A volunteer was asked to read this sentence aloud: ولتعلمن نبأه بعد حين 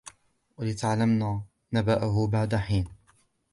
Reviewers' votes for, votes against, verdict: 2, 0, accepted